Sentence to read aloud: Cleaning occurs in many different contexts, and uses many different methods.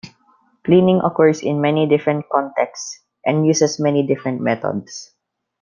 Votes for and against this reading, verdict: 2, 0, accepted